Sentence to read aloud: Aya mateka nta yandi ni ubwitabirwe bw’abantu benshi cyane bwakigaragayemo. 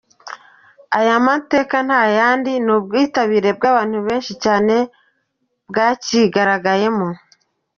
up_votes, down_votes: 2, 0